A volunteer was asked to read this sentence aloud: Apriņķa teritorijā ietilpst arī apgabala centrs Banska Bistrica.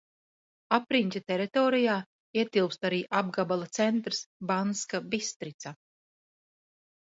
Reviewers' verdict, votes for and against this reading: accepted, 2, 0